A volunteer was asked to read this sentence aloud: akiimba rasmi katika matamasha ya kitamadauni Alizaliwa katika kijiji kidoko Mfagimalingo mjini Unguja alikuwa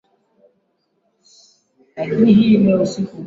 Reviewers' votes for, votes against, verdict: 0, 2, rejected